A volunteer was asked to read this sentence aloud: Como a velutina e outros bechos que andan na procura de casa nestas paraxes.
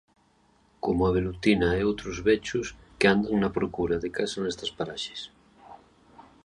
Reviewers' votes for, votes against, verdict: 2, 0, accepted